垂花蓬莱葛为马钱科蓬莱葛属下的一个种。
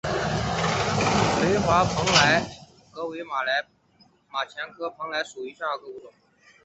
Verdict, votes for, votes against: rejected, 0, 3